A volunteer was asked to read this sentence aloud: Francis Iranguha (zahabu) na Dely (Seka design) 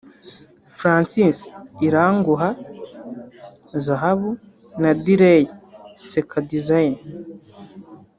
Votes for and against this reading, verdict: 1, 2, rejected